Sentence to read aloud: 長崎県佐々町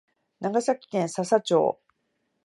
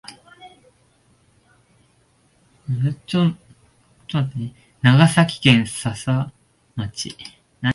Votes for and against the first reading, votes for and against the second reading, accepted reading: 3, 0, 1, 2, first